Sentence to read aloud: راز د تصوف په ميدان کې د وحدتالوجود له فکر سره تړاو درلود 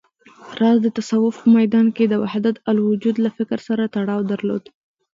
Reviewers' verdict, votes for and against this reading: rejected, 1, 2